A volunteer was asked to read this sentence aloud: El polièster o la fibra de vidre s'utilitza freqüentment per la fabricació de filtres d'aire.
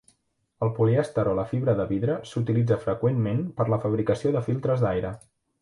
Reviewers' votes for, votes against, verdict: 3, 0, accepted